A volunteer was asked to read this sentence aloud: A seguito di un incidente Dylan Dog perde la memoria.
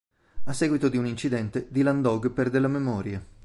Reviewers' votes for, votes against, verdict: 2, 0, accepted